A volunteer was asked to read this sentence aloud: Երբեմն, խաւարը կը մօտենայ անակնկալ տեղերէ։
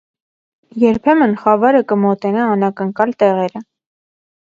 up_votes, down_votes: 0, 2